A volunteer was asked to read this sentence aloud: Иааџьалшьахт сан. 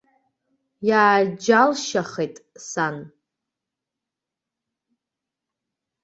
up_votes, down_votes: 0, 2